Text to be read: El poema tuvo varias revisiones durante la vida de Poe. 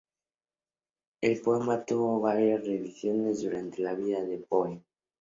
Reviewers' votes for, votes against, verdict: 2, 0, accepted